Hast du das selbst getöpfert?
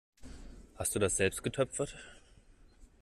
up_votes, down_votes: 2, 0